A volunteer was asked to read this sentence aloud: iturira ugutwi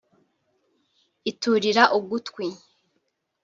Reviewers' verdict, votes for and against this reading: accepted, 2, 0